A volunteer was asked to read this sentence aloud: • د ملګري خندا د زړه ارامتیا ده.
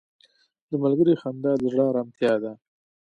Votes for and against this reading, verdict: 2, 1, accepted